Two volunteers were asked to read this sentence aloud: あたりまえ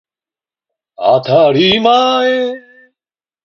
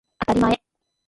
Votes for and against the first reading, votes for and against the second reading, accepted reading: 2, 0, 1, 2, first